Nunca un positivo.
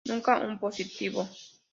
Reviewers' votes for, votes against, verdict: 2, 0, accepted